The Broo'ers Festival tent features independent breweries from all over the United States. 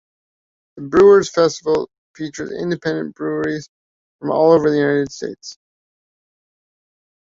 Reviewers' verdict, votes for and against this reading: rejected, 0, 2